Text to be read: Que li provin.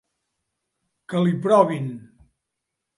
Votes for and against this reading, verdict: 3, 0, accepted